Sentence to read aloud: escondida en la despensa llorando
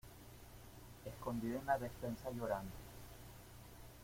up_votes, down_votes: 1, 2